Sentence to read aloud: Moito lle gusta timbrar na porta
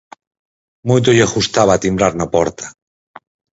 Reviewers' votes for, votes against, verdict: 2, 4, rejected